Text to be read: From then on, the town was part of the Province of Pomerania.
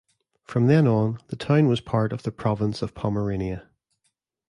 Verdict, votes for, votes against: accepted, 2, 0